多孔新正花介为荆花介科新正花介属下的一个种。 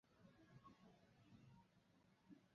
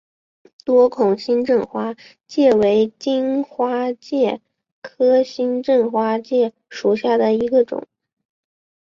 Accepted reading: second